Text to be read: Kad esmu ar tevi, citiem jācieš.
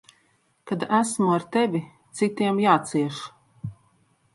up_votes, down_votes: 2, 0